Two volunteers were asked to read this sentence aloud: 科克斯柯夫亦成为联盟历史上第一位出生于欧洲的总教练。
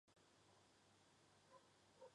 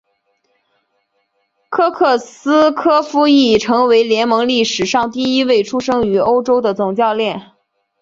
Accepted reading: second